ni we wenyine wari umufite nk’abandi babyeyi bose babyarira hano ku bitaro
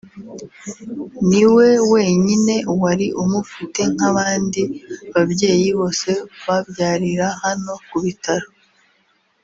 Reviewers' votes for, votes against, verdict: 2, 0, accepted